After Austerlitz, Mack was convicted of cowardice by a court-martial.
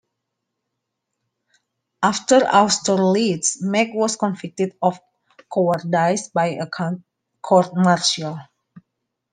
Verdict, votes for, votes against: rejected, 0, 2